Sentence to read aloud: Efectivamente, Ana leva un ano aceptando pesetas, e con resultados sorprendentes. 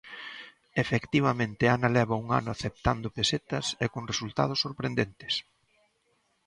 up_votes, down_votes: 2, 0